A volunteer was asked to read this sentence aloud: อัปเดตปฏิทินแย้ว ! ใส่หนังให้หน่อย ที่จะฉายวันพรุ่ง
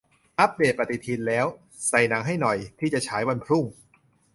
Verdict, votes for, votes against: rejected, 0, 2